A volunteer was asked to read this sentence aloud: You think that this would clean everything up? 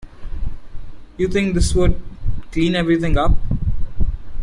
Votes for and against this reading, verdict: 0, 2, rejected